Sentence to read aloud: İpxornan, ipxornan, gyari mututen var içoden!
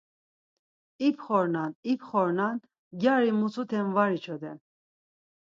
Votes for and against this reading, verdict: 0, 4, rejected